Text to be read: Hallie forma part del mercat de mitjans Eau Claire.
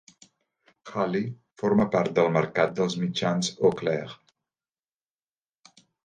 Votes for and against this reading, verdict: 1, 2, rejected